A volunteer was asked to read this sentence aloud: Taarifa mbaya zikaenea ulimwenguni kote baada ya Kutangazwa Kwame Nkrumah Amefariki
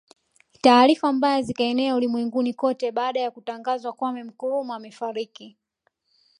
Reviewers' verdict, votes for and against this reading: accepted, 2, 0